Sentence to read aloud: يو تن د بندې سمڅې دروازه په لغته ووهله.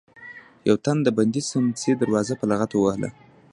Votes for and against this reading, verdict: 2, 1, accepted